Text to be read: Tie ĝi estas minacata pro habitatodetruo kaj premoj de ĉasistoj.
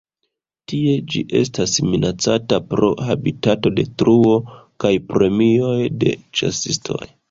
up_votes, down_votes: 0, 2